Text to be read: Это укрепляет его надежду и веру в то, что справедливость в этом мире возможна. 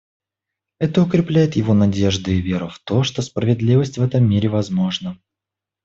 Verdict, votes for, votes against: accepted, 2, 0